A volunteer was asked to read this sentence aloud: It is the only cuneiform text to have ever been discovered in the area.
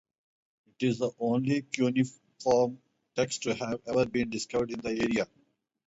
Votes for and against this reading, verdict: 0, 4, rejected